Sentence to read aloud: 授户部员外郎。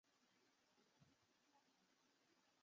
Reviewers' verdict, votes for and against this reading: rejected, 0, 2